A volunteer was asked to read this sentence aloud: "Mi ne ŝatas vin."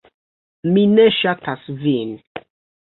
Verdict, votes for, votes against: rejected, 1, 2